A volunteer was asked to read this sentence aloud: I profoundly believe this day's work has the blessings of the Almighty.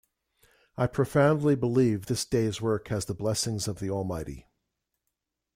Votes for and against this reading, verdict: 2, 0, accepted